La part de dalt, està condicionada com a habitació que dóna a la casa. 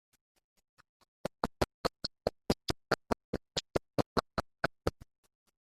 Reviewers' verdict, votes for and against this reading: rejected, 0, 2